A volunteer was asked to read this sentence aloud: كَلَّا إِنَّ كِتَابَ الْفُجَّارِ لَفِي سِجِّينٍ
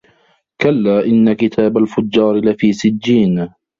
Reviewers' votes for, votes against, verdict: 1, 2, rejected